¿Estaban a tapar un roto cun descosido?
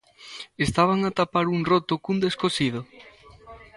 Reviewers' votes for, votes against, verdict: 0, 2, rejected